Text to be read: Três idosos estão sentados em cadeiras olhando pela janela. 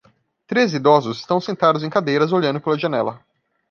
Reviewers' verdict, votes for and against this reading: accepted, 2, 0